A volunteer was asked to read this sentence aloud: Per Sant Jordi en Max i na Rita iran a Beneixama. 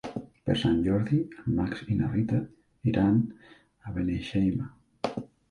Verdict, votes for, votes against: rejected, 0, 2